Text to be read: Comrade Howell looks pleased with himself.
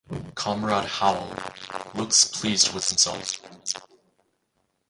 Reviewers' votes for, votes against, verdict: 0, 4, rejected